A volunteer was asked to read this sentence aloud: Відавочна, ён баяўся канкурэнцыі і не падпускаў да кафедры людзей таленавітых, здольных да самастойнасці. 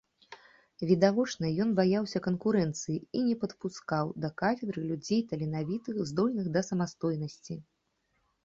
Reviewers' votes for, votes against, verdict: 2, 0, accepted